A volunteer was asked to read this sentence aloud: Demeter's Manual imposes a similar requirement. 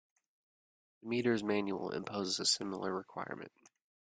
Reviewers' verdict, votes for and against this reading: rejected, 1, 2